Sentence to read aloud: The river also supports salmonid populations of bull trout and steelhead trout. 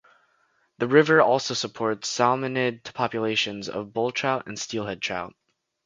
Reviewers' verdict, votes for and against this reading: accepted, 2, 0